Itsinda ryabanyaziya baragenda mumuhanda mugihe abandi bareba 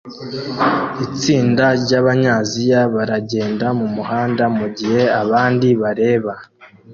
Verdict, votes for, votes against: accepted, 2, 0